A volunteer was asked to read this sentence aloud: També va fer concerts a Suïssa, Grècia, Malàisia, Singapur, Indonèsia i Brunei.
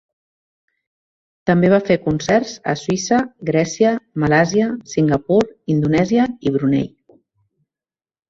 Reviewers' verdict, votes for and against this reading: rejected, 1, 2